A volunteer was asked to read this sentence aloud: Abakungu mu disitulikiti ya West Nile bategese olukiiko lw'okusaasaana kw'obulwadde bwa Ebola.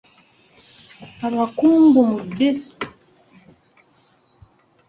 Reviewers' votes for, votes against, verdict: 0, 2, rejected